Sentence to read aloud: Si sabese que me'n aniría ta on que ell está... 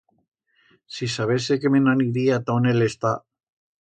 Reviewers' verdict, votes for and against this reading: rejected, 1, 2